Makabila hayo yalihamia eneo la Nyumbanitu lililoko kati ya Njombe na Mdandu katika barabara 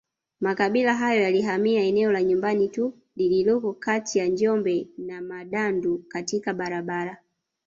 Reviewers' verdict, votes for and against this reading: accepted, 3, 2